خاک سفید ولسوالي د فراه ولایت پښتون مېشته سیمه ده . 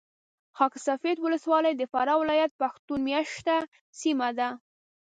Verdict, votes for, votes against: accepted, 2, 0